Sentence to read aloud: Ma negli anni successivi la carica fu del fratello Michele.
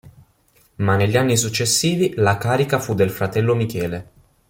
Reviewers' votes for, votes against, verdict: 2, 0, accepted